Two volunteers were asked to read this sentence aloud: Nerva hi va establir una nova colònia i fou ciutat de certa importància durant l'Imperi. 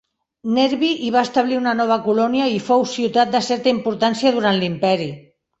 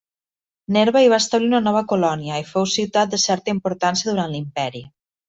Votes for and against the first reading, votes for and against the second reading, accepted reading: 1, 2, 2, 0, second